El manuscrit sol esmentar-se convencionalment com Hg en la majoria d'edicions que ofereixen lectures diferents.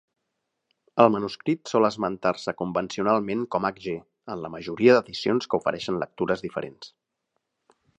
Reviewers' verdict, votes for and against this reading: accepted, 3, 0